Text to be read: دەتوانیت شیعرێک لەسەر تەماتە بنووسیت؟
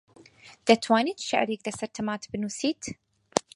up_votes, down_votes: 2, 4